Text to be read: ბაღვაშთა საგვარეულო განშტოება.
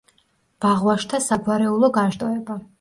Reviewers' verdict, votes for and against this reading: rejected, 1, 2